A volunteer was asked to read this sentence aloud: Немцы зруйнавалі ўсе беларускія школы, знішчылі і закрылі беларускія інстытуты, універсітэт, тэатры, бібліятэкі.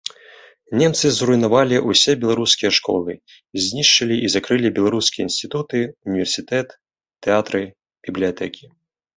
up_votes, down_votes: 0, 2